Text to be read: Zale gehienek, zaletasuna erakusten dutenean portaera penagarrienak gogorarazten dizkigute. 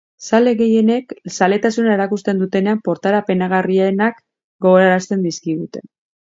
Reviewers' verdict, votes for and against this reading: accepted, 2, 0